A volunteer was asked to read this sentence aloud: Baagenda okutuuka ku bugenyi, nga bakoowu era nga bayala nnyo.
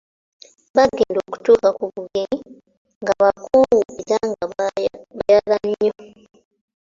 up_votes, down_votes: 0, 2